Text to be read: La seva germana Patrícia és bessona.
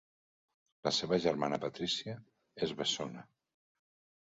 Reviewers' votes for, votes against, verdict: 4, 0, accepted